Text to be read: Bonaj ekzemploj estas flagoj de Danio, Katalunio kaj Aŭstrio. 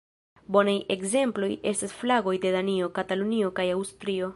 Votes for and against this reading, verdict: 2, 0, accepted